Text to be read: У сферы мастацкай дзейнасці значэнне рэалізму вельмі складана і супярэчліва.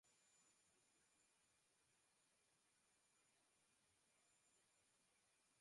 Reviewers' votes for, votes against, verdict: 0, 2, rejected